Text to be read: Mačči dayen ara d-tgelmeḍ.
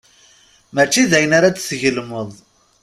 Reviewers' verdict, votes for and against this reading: accepted, 2, 0